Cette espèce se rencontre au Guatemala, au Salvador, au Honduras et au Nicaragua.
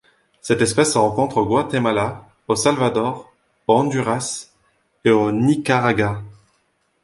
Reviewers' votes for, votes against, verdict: 1, 2, rejected